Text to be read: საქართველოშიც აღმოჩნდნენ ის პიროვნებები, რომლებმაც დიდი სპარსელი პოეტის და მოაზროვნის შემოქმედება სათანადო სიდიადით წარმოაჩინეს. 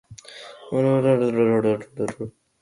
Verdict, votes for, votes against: rejected, 0, 2